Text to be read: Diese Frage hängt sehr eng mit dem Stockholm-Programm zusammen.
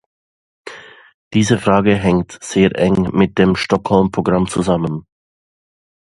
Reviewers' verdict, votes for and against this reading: accepted, 2, 0